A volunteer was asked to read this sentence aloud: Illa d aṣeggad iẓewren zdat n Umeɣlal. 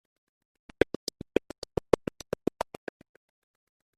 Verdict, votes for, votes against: rejected, 0, 2